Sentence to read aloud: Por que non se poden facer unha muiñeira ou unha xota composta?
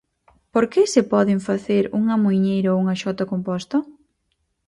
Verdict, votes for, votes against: rejected, 0, 4